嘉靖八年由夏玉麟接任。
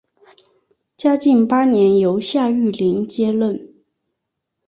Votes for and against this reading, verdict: 5, 0, accepted